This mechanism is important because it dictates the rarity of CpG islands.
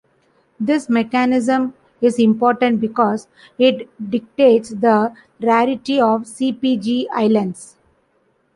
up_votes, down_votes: 2, 1